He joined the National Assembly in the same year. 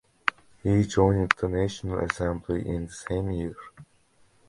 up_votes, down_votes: 0, 2